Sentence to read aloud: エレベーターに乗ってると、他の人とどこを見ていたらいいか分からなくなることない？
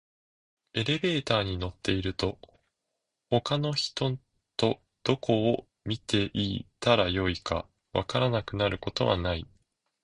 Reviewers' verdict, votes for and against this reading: rejected, 1, 2